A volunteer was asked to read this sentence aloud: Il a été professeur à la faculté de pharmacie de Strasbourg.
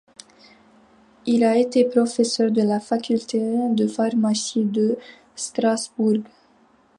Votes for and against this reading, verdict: 0, 2, rejected